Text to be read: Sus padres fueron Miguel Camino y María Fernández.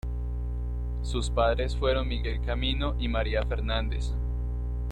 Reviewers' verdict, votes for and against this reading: accepted, 2, 0